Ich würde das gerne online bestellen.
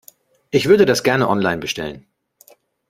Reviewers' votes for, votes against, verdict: 2, 0, accepted